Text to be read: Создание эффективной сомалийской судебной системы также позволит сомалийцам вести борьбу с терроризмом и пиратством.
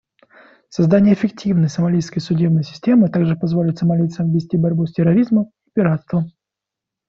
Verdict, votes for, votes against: rejected, 1, 2